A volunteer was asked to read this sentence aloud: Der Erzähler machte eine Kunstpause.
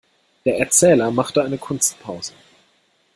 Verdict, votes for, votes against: accepted, 2, 0